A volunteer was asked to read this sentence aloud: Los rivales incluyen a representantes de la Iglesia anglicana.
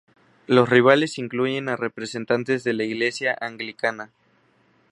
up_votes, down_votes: 0, 2